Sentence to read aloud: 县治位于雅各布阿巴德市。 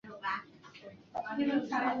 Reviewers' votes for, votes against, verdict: 0, 2, rejected